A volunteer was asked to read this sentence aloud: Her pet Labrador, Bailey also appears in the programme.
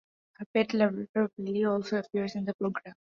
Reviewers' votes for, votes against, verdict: 0, 2, rejected